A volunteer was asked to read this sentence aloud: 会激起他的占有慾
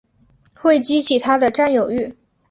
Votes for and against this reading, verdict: 3, 0, accepted